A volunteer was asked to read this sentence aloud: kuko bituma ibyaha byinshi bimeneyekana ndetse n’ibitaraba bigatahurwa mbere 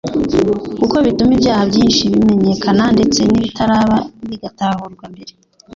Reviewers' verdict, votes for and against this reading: rejected, 1, 2